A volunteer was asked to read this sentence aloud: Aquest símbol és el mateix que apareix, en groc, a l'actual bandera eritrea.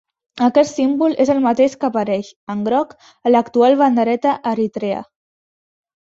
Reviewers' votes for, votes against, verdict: 0, 3, rejected